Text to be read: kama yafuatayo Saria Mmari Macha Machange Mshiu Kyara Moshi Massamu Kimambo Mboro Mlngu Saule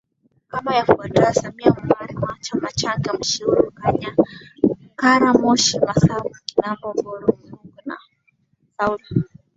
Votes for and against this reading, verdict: 0, 2, rejected